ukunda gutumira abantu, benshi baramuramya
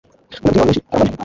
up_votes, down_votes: 0, 2